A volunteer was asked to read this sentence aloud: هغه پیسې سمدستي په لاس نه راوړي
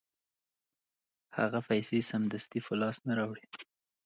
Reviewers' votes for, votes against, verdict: 2, 0, accepted